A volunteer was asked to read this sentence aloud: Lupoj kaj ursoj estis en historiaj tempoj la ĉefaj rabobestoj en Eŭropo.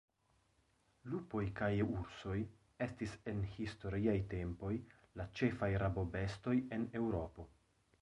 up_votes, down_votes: 1, 2